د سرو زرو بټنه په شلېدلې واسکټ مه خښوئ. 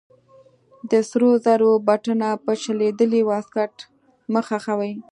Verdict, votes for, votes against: accepted, 2, 0